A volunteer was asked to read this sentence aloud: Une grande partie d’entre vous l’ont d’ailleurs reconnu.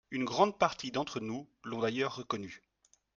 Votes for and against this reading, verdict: 1, 2, rejected